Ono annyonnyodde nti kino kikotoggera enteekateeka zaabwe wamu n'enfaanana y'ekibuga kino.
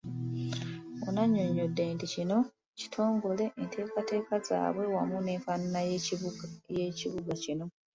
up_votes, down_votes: 0, 2